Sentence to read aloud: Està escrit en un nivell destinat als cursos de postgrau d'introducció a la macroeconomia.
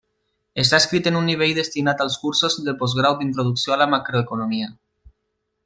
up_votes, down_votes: 2, 1